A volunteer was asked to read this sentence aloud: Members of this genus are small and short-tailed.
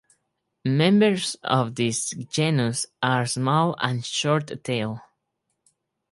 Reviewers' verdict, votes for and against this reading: accepted, 4, 2